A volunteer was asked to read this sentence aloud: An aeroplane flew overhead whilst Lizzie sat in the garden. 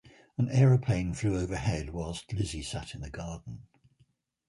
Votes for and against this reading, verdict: 2, 0, accepted